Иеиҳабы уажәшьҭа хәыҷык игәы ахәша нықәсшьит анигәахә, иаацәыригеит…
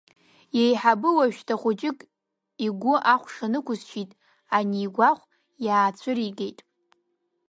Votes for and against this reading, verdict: 2, 0, accepted